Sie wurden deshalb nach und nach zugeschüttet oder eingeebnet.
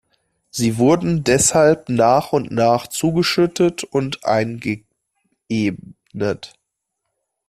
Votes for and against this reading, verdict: 0, 2, rejected